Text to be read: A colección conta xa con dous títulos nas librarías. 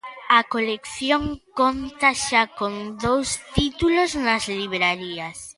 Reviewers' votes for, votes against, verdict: 2, 1, accepted